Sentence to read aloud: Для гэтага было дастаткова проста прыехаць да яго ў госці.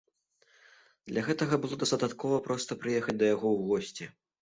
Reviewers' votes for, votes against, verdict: 0, 2, rejected